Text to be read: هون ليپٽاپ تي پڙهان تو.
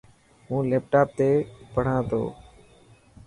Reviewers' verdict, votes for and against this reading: accepted, 2, 0